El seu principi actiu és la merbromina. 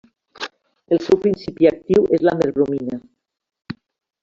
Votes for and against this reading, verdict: 2, 1, accepted